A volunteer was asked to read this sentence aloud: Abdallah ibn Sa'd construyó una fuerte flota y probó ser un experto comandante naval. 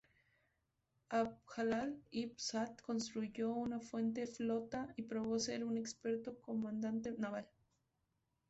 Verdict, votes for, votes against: rejected, 0, 2